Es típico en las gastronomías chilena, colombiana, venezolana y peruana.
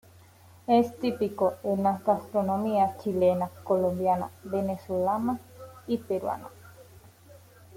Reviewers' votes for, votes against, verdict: 0, 2, rejected